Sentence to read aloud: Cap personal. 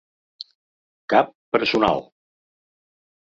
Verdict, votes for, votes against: accepted, 3, 0